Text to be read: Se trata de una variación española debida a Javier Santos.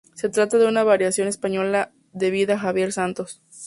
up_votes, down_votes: 2, 0